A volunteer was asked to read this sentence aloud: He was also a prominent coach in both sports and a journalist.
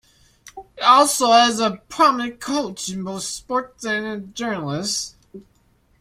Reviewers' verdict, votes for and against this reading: rejected, 1, 2